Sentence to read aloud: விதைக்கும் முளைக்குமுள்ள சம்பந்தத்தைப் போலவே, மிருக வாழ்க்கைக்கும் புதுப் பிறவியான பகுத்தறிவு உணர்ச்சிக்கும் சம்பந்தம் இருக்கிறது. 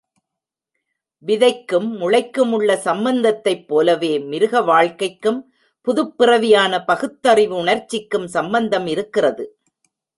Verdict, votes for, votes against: rejected, 1, 2